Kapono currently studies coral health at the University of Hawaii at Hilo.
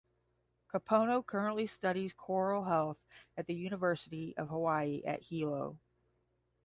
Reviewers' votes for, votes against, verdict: 10, 0, accepted